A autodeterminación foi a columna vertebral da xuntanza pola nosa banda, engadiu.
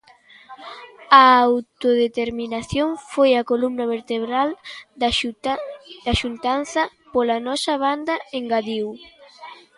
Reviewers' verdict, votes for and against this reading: rejected, 1, 2